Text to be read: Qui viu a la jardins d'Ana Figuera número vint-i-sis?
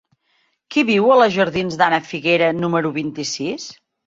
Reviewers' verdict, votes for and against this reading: accepted, 2, 0